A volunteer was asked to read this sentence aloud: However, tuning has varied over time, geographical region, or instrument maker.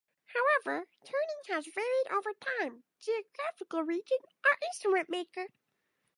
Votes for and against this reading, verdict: 0, 2, rejected